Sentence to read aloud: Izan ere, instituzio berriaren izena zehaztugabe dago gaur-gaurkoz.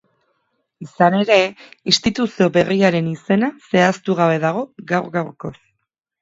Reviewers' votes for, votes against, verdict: 4, 0, accepted